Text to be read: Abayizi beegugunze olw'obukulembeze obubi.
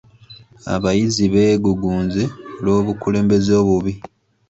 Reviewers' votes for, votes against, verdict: 2, 0, accepted